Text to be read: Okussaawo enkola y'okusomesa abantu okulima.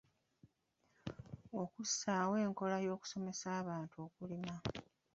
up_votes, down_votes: 1, 2